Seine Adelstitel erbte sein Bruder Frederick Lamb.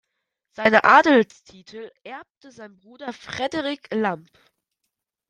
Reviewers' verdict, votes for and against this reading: accepted, 2, 0